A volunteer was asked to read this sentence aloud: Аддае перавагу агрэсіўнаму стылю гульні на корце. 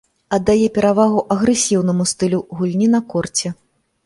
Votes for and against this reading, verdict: 4, 0, accepted